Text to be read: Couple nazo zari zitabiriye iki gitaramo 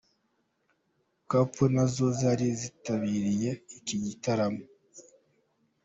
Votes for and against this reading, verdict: 3, 0, accepted